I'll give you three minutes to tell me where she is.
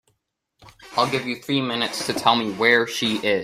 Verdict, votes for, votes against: rejected, 1, 2